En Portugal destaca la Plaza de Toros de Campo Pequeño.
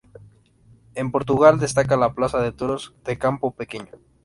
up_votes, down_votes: 2, 0